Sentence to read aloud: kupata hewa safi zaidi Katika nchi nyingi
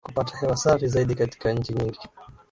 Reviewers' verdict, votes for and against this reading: rejected, 1, 2